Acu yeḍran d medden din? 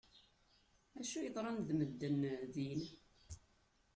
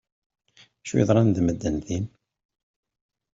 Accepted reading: second